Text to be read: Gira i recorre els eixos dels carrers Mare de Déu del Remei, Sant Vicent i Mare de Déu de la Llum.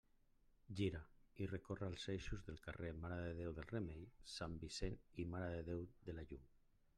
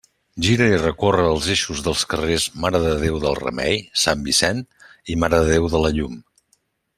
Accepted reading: second